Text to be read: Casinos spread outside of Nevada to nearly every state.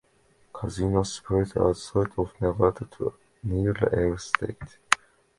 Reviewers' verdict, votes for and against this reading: rejected, 1, 2